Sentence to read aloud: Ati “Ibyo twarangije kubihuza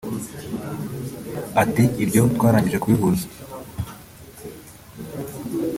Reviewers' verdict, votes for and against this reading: rejected, 1, 2